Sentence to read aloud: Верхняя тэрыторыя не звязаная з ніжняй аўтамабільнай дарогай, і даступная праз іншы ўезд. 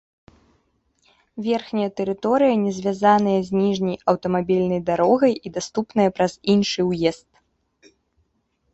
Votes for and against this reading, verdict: 2, 0, accepted